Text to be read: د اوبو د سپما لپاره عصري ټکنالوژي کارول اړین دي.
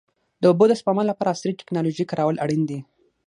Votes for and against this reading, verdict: 6, 3, accepted